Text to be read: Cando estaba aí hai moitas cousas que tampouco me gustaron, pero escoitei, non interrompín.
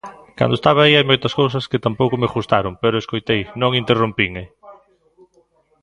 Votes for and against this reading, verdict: 0, 2, rejected